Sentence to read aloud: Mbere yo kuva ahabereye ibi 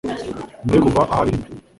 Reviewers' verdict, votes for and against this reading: rejected, 1, 2